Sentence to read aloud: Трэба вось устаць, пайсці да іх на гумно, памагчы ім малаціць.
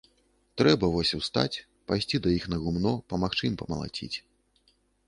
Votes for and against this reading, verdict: 1, 2, rejected